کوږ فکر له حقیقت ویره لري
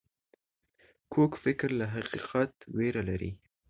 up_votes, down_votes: 2, 0